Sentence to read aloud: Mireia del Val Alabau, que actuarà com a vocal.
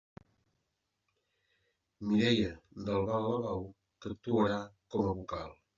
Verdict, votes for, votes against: rejected, 0, 2